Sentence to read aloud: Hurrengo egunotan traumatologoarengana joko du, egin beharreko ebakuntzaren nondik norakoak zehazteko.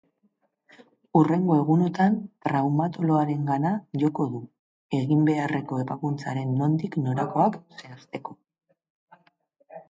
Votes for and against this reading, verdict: 2, 0, accepted